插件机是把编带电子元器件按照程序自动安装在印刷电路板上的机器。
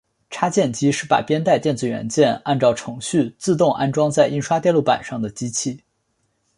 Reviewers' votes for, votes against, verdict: 5, 1, accepted